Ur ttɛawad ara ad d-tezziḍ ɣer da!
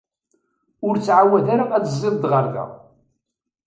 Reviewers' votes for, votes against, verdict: 2, 0, accepted